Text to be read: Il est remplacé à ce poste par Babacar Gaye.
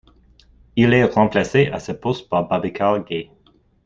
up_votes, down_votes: 2, 0